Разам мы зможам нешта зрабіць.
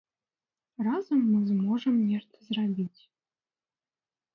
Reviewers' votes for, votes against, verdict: 2, 0, accepted